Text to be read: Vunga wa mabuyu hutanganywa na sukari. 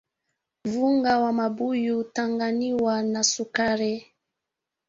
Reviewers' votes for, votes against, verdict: 0, 2, rejected